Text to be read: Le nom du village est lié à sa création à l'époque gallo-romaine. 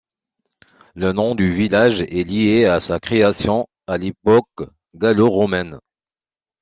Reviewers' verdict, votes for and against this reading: rejected, 1, 2